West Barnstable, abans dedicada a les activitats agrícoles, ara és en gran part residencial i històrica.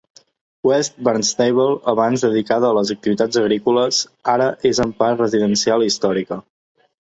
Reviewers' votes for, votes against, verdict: 0, 2, rejected